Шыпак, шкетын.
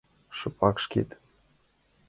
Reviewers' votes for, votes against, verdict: 2, 0, accepted